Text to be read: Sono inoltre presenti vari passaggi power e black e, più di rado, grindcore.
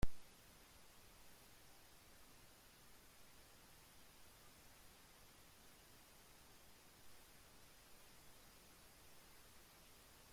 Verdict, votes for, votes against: rejected, 0, 2